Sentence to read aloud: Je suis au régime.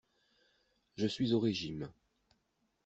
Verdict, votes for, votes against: accepted, 2, 0